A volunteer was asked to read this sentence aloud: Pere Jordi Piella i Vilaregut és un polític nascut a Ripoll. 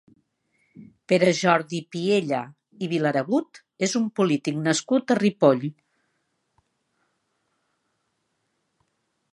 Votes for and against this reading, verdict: 3, 0, accepted